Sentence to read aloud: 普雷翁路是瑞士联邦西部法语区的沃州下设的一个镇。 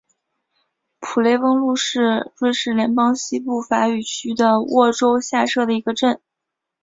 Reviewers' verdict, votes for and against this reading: accepted, 4, 0